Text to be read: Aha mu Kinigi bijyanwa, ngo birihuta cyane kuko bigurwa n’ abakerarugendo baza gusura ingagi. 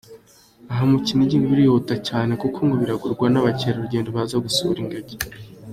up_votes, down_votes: 3, 0